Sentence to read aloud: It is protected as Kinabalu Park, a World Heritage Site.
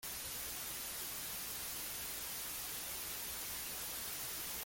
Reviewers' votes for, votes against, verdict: 0, 2, rejected